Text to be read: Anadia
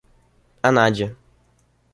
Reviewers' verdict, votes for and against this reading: accepted, 2, 1